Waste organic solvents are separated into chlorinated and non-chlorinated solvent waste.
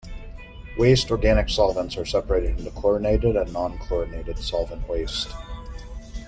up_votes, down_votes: 2, 0